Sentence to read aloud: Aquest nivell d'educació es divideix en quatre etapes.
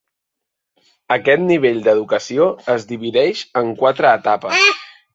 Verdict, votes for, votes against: accepted, 3, 0